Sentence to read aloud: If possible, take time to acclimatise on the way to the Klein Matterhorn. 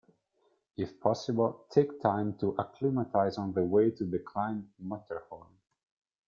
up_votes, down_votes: 0, 2